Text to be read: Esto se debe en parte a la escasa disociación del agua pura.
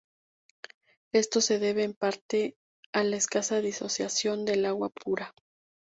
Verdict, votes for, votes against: accepted, 2, 0